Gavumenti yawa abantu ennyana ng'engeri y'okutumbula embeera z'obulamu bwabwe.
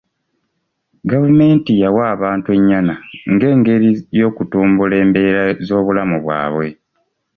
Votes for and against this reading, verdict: 2, 0, accepted